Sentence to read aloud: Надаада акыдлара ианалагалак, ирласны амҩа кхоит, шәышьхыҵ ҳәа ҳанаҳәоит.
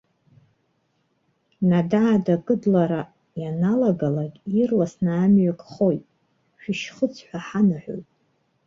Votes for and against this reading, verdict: 2, 0, accepted